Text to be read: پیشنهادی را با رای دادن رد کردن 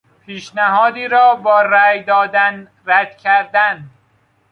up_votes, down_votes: 2, 0